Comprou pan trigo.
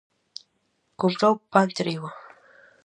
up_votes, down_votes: 4, 0